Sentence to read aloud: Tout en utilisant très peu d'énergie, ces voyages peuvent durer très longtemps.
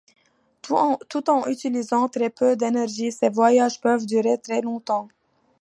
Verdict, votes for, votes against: rejected, 0, 2